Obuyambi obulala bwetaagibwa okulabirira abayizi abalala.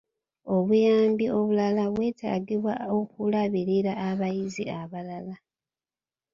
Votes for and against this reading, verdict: 2, 0, accepted